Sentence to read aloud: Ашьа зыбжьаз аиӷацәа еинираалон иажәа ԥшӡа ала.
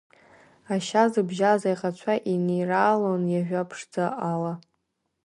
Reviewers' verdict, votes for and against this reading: accepted, 3, 1